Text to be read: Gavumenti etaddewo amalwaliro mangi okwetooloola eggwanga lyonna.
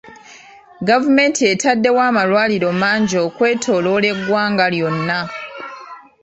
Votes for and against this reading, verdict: 0, 2, rejected